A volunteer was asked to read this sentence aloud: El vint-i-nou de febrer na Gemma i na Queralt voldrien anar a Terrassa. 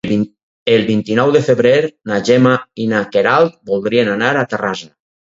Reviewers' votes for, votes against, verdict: 2, 2, rejected